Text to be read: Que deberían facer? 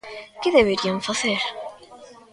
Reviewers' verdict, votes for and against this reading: accepted, 2, 0